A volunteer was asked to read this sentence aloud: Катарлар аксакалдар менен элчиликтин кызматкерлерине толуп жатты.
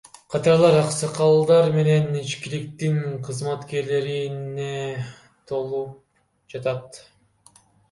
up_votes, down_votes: 0, 2